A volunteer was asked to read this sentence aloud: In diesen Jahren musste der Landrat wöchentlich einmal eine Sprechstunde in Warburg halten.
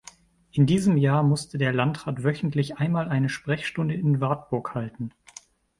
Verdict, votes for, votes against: rejected, 0, 2